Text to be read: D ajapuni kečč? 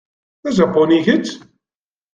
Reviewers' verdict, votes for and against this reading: accepted, 2, 0